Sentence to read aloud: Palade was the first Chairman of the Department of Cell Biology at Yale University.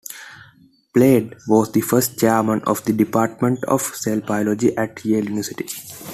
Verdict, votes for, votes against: accepted, 2, 1